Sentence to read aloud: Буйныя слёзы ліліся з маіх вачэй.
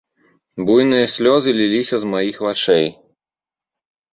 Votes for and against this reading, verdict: 1, 2, rejected